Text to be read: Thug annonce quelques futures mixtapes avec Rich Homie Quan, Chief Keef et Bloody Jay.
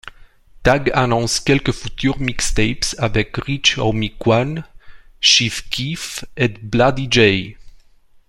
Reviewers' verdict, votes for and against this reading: accepted, 2, 0